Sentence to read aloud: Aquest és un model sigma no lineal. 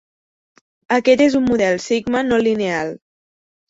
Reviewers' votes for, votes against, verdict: 3, 0, accepted